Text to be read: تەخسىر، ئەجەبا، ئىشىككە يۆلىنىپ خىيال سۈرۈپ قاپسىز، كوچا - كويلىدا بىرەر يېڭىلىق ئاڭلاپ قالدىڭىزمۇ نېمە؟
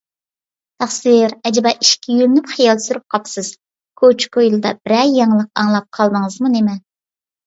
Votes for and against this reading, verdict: 2, 0, accepted